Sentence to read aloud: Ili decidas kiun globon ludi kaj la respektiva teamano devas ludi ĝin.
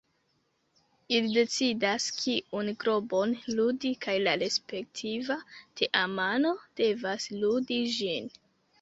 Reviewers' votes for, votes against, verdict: 2, 0, accepted